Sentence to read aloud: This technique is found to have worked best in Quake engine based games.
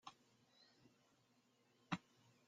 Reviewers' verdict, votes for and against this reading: rejected, 0, 2